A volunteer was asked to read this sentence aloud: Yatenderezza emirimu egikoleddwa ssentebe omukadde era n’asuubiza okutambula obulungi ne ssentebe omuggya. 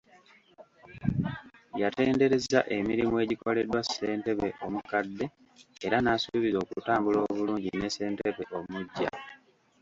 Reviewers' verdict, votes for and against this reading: accepted, 2, 1